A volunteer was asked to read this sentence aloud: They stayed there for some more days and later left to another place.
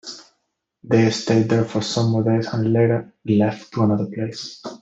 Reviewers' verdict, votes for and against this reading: accepted, 2, 0